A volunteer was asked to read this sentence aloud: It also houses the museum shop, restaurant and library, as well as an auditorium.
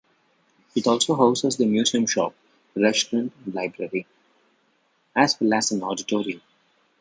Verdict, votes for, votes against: rejected, 0, 2